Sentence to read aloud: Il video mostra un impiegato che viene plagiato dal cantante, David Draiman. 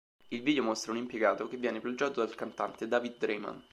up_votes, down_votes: 2, 0